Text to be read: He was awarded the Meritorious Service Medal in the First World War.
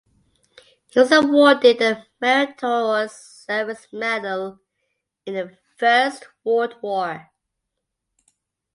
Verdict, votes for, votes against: rejected, 0, 2